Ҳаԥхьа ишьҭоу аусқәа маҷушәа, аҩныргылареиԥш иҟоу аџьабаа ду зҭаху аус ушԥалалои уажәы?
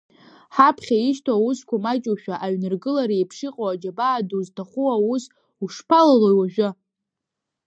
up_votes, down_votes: 0, 2